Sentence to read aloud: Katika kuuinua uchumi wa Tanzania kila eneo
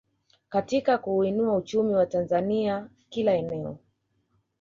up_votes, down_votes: 2, 0